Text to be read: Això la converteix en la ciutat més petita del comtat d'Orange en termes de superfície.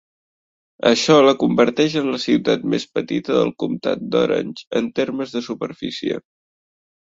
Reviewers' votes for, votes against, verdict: 3, 0, accepted